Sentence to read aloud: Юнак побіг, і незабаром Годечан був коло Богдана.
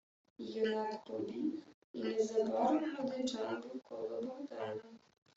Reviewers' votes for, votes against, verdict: 1, 2, rejected